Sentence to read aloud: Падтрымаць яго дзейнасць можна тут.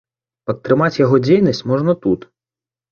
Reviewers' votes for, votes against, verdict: 2, 0, accepted